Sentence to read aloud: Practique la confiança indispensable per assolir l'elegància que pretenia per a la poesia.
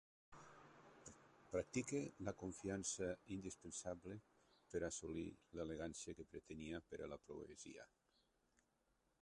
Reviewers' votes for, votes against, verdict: 1, 2, rejected